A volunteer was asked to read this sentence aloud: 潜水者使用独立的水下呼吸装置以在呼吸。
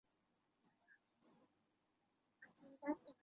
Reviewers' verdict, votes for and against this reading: rejected, 1, 2